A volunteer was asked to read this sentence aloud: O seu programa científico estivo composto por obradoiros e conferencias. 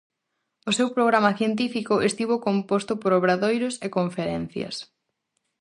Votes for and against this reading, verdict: 4, 0, accepted